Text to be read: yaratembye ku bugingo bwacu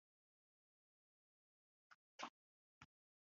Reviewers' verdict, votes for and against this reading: rejected, 2, 3